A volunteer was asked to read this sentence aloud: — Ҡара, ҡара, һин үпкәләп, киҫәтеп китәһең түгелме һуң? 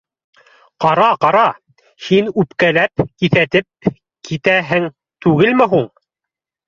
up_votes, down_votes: 0, 2